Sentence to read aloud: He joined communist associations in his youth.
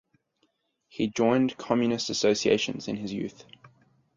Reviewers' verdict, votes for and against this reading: accepted, 4, 0